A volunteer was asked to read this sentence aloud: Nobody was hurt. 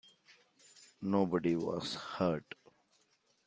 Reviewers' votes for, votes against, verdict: 0, 2, rejected